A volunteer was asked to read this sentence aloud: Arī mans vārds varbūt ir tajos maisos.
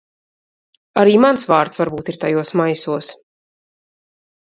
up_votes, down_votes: 2, 0